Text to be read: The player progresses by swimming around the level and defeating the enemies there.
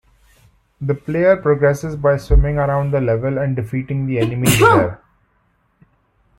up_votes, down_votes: 1, 2